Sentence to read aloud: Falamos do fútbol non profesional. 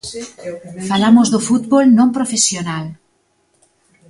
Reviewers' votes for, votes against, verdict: 1, 2, rejected